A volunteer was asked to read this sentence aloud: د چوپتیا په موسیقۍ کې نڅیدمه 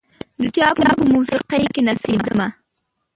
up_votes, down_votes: 0, 2